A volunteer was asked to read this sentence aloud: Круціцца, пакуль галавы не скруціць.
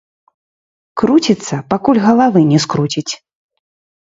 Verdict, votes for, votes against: rejected, 0, 2